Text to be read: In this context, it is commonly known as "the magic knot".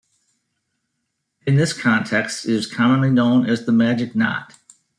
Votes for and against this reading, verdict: 2, 0, accepted